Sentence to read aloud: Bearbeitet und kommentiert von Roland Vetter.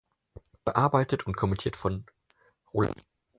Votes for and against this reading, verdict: 0, 4, rejected